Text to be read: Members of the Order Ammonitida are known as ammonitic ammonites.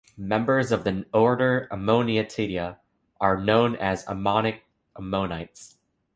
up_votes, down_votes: 2, 1